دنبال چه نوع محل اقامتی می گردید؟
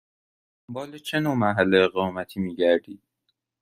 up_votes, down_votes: 1, 2